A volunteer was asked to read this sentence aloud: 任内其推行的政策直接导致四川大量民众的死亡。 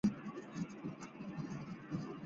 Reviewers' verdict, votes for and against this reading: rejected, 0, 2